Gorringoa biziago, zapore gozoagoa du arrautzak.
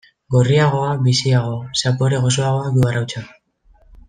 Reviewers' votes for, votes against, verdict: 0, 2, rejected